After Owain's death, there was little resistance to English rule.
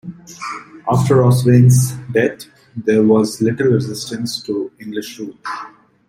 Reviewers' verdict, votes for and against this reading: rejected, 0, 2